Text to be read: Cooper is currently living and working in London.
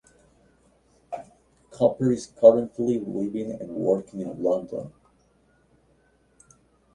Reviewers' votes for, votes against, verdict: 0, 2, rejected